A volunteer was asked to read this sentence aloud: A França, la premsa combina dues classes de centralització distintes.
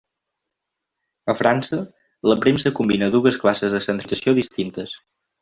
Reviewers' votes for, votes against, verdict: 1, 2, rejected